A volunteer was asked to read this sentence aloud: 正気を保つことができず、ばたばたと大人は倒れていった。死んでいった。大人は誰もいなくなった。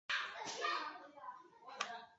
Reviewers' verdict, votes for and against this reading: rejected, 0, 2